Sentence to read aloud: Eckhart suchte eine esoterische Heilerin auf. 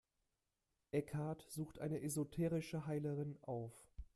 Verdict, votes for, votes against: rejected, 0, 2